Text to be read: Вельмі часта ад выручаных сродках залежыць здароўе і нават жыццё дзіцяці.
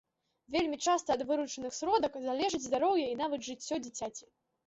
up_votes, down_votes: 1, 2